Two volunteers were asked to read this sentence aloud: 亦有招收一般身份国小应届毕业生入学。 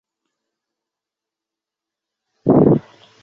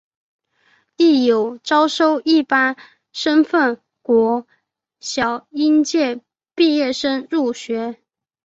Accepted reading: second